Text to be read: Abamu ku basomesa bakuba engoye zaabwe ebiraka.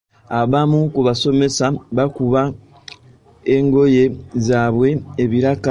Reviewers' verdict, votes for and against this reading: accepted, 2, 1